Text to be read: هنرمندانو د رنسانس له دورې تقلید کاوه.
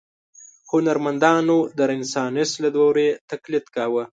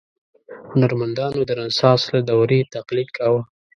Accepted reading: second